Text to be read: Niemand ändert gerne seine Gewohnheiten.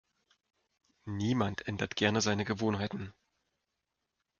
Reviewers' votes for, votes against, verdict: 2, 0, accepted